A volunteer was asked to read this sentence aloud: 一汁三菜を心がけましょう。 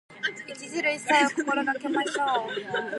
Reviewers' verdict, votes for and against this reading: rejected, 1, 2